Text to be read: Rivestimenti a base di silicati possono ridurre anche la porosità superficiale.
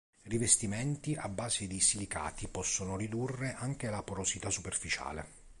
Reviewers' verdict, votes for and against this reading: accepted, 2, 0